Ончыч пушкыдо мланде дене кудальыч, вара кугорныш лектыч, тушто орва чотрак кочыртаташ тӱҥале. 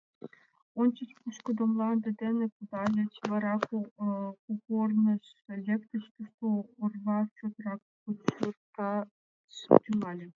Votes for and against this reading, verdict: 0, 2, rejected